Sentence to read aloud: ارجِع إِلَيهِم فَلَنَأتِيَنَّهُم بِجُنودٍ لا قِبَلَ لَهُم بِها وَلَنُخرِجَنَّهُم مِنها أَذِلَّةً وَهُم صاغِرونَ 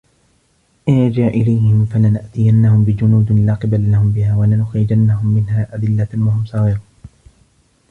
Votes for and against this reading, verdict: 1, 2, rejected